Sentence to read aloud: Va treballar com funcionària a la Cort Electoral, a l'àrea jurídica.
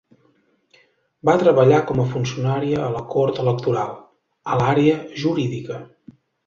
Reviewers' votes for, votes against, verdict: 1, 2, rejected